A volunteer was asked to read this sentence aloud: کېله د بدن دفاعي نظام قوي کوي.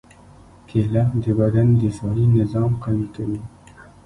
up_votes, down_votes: 0, 2